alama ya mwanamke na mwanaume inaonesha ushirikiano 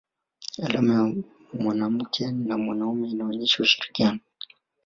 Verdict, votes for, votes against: rejected, 1, 3